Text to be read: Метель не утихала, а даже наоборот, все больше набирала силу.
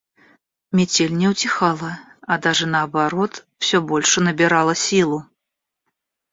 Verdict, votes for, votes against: accepted, 2, 0